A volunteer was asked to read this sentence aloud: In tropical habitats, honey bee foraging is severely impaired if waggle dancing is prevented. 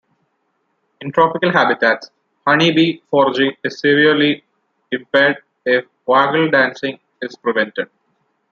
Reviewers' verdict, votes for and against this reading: rejected, 1, 2